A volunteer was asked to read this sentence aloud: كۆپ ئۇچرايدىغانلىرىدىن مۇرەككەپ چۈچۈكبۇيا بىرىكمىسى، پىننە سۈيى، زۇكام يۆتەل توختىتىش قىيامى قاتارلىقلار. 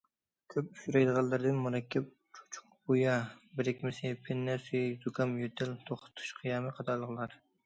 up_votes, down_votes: 0, 2